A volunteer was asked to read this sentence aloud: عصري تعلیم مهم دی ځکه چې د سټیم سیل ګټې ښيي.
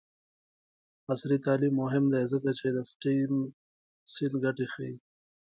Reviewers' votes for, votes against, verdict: 2, 1, accepted